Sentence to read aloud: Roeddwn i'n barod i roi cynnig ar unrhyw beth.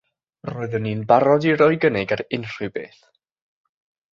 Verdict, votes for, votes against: accepted, 3, 0